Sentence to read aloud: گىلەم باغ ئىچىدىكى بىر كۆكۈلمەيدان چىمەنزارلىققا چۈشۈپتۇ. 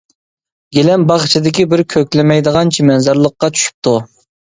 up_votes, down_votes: 0, 2